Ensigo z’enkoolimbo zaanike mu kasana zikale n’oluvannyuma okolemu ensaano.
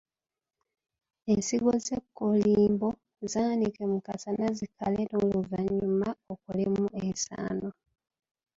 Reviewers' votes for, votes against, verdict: 0, 2, rejected